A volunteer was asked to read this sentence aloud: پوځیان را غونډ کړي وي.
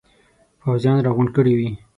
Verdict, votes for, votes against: accepted, 6, 0